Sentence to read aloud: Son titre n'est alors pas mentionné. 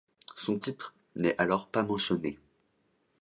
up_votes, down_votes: 1, 2